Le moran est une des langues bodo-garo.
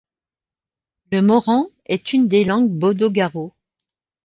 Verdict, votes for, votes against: accepted, 2, 0